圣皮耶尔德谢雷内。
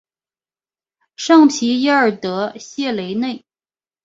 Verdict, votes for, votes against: accepted, 2, 0